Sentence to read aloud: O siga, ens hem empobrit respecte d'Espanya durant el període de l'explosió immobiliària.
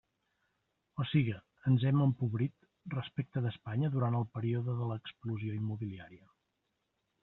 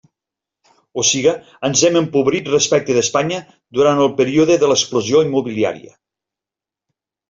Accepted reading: second